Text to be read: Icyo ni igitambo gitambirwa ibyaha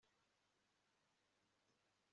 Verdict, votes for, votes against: rejected, 0, 2